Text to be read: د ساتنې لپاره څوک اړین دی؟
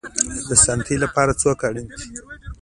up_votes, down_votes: 2, 1